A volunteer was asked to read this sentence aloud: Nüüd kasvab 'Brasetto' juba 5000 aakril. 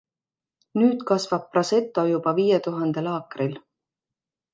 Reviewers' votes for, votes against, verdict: 0, 2, rejected